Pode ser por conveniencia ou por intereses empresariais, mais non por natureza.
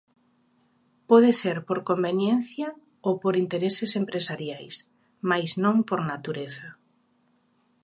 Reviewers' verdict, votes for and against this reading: accepted, 2, 0